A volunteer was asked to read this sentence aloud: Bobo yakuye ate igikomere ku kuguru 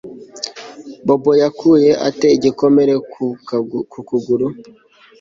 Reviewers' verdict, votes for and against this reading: rejected, 1, 3